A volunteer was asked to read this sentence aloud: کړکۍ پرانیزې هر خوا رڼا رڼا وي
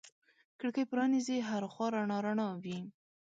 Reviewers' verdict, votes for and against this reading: accepted, 2, 0